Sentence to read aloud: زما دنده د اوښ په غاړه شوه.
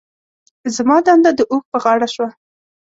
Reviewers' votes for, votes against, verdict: 2, 0, accepted